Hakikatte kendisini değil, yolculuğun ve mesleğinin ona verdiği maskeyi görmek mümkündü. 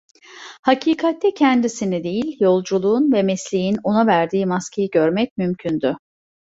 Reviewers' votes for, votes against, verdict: 0, 2, rejected